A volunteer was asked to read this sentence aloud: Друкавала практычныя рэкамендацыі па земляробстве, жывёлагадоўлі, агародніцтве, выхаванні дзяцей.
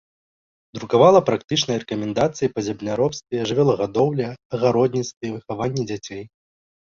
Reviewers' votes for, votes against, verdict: 2, 0, accepted